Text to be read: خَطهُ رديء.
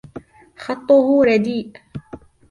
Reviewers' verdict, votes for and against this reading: accepted, 2, 0